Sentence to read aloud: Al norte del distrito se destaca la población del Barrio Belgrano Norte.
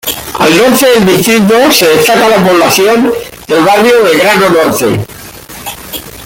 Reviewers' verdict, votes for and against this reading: rejected, 0, 2